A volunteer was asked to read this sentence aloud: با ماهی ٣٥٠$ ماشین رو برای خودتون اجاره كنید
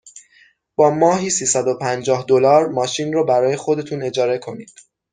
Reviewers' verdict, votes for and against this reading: rejected, 0, 2